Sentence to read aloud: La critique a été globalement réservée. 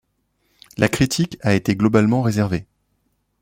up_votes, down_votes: 2, 1